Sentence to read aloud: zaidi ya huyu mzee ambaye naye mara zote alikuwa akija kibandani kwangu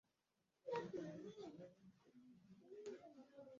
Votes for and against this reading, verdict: 0, 3, rejected